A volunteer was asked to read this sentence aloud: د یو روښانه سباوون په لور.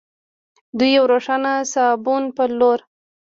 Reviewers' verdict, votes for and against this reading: rejected, 1, 2